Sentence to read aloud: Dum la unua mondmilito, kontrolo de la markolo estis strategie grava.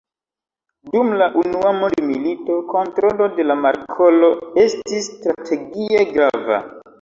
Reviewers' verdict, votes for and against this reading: accepted, 3, 0